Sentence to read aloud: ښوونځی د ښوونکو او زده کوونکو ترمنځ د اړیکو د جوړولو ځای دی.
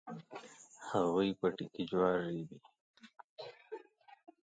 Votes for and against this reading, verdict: 1, 2, rejected